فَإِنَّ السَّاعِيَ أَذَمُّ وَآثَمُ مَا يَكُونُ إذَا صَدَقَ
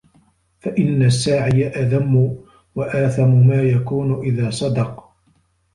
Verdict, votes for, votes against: accepted, 2, 0